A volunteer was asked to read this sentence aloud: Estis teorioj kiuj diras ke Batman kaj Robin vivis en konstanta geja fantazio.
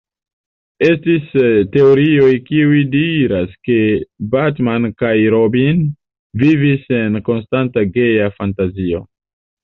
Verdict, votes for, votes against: accepted, 2, 0